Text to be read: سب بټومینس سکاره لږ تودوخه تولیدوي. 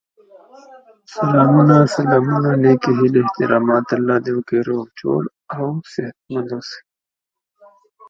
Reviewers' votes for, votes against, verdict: 1, 2, rejected